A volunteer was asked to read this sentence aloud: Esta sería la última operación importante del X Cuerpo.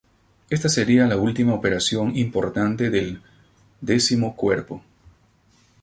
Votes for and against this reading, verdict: 2, 2, rejected